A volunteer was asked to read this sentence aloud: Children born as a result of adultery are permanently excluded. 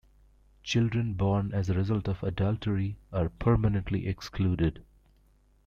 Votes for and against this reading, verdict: 2, 0, accepted